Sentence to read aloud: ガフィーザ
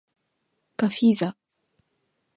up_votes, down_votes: 2, 0